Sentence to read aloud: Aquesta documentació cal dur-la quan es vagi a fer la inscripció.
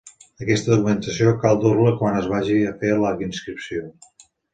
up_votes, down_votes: 2, 0